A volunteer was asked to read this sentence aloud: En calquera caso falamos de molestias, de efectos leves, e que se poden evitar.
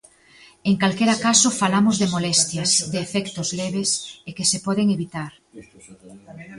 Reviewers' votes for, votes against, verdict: 1, 2, rejected